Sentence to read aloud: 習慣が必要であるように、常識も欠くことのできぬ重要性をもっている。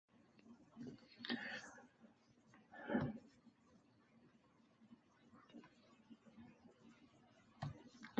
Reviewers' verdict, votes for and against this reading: rejected, 0, 2